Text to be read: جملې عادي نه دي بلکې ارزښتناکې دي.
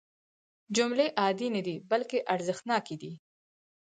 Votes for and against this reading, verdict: 4, 0, accepted